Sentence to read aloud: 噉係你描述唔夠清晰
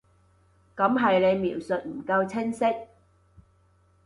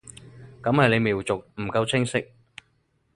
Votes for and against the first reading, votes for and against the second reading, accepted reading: 2, 0, 2, 2, first